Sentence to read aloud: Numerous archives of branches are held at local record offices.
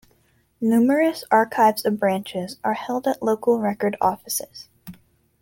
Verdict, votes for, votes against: accepted, 2, 0